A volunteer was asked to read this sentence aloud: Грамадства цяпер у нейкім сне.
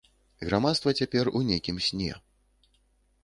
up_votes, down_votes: 2, 0